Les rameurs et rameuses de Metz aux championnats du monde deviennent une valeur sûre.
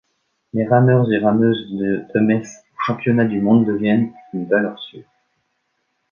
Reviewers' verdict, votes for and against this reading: rejected, 1, 2